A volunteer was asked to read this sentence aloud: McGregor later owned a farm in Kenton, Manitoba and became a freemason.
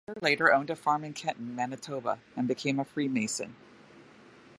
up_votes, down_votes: 1, 2